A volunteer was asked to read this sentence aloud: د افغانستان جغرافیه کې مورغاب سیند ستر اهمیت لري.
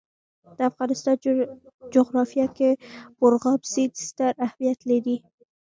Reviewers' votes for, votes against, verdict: 2, 0, accepted